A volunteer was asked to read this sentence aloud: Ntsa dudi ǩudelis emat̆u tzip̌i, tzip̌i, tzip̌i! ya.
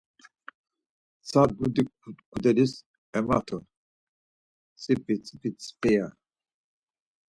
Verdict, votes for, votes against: rejected, 2, 4